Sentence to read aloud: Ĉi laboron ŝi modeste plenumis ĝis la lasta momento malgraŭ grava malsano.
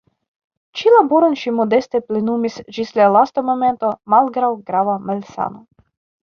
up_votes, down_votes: 2, 1